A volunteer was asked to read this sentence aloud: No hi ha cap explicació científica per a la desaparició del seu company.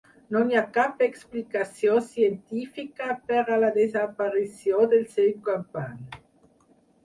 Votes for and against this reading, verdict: 2, 4, rejected